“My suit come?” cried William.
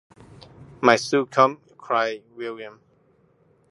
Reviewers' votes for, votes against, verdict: 2, 0, accepted